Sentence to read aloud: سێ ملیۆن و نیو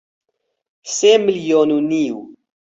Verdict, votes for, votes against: accepted, 4, 0